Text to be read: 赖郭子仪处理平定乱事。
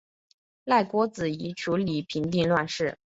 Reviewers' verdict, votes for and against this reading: accepted, 2, 0